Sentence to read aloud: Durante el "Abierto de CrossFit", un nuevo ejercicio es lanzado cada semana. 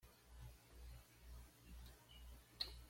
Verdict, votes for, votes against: rejected, 1, 2